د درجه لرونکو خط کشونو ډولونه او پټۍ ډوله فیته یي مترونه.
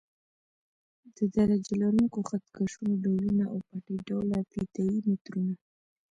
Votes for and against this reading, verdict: 1, 2, rejected